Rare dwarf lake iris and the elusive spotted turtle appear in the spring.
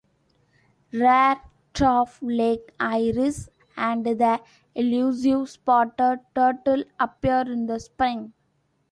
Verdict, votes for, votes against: rejected, 1, 2